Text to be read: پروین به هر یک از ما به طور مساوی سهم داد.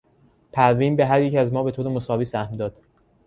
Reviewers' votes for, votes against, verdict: 2, 0, accepted